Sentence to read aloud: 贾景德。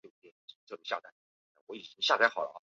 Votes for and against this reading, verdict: 2, 5, rejected